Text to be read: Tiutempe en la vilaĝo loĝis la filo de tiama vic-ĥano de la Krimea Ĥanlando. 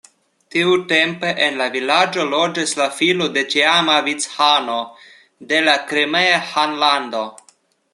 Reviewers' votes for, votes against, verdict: 0, 2, rejected